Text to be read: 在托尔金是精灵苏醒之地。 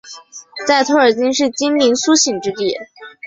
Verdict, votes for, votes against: accepted, 2, 0